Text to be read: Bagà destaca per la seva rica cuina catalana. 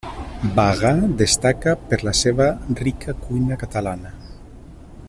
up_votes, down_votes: 1, 2